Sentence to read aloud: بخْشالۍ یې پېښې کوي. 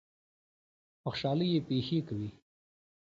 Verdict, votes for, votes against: accepted, 2, 1